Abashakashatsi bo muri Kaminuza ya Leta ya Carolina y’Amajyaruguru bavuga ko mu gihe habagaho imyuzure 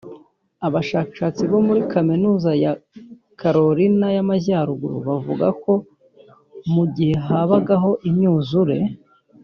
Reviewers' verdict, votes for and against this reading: rejected, 1, 2